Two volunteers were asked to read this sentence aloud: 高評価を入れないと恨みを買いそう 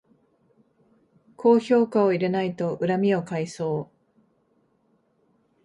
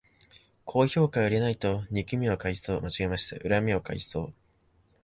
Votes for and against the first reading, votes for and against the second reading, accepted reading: 2, 0, 1, 3, first